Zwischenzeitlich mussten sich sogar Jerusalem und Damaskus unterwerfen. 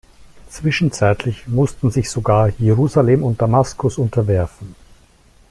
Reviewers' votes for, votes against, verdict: 2, 0, accepted